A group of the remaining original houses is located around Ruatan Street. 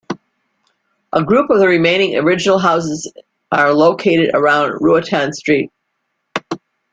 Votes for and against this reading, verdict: 1, 2, rejected